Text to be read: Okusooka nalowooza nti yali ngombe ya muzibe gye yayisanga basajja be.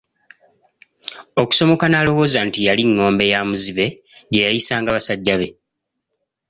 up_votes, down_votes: 1, 2